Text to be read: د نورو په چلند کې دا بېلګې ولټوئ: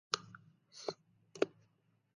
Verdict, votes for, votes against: rejected, 0, 2